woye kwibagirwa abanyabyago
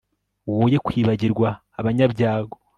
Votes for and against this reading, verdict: 2, 0, accepted